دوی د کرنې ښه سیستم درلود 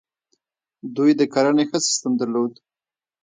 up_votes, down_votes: 2, 0